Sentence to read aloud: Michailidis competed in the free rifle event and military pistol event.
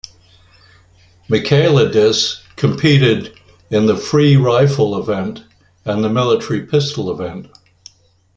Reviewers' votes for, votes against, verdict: 1, 2, rejected